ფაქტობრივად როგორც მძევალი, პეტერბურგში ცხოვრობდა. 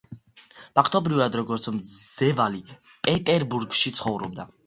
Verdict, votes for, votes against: accepted, 2, 1